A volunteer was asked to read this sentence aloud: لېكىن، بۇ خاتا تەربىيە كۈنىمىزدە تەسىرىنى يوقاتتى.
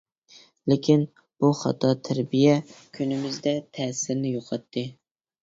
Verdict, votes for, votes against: accepted, 2, 0